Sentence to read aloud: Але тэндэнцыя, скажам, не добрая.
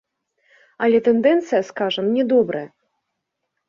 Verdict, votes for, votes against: accepted, 2, 0